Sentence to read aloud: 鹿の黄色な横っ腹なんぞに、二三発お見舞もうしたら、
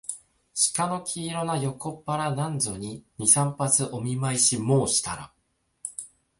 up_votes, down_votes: 1, 2